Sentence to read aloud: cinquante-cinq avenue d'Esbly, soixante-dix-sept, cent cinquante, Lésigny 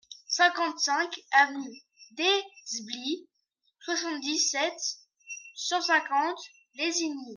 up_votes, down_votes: 1, 2